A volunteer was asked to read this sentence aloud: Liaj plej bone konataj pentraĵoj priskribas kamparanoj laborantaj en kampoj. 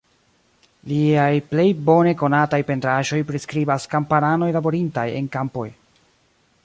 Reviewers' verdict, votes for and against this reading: rejected, 1, 2